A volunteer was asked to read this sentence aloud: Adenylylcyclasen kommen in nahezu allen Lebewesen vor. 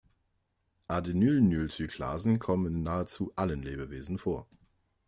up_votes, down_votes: 0, 2